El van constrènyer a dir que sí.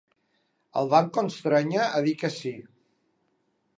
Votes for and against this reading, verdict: 3, 1, accepted